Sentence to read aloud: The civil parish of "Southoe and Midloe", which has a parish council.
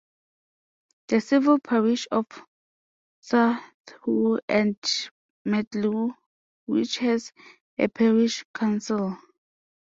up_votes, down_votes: 0, 2